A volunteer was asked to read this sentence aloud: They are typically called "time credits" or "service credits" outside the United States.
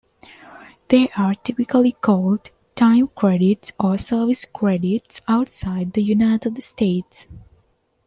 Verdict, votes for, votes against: accepted, 3, 1